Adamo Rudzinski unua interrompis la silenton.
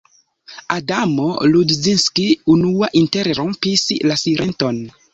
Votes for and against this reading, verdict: 2, 0, accepted